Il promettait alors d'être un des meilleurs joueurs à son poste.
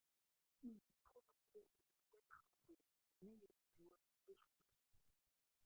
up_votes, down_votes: 0, 2